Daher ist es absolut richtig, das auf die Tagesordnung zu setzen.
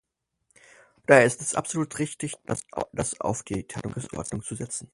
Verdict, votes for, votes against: rejected, 0, 4